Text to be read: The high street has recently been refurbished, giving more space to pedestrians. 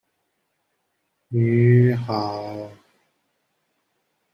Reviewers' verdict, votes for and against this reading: rejected, 0, 2